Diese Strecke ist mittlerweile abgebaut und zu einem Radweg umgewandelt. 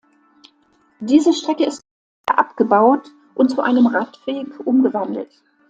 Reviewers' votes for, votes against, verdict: 1, 2, rejected